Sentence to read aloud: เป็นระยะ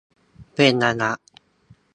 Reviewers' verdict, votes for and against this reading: rejected, 0, 2